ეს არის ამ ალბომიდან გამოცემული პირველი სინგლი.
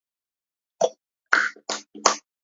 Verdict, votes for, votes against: rejected, 0, 2